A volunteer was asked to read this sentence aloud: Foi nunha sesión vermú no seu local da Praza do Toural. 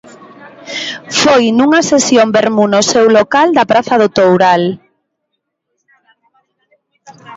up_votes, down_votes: 2, 0